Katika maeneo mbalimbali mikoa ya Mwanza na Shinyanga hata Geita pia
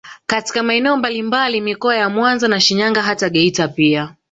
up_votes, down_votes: 2, 1